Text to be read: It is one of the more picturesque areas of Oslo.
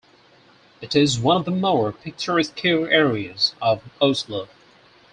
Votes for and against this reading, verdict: 2, 4, rejected